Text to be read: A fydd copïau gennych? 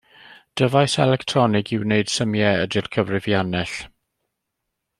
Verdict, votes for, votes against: rejected, 0, 2